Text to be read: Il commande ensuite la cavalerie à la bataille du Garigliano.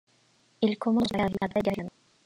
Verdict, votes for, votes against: rejected, 0, 2